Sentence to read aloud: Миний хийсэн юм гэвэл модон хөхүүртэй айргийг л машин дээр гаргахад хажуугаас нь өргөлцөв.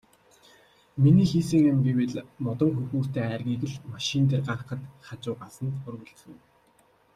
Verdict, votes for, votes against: accepted, 2, 0